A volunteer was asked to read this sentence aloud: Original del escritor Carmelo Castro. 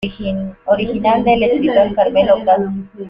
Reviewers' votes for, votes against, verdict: 0, 2, rejected